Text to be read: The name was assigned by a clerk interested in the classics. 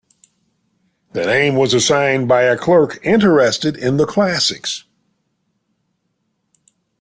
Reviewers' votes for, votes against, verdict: 2, 0, accepted